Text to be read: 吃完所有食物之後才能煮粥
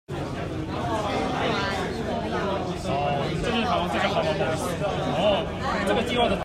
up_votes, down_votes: 0, 2